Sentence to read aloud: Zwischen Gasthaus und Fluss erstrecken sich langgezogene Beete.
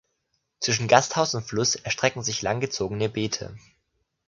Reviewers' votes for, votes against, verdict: 2, 0, accepted